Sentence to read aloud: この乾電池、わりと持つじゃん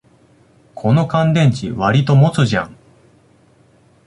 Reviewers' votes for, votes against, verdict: 2, 0, accepted